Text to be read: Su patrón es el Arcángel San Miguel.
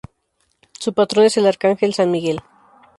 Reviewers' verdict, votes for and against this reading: accepted, 2, 0